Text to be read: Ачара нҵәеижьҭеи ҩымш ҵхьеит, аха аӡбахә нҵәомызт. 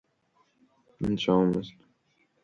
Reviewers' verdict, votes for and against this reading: rejected, 0, 2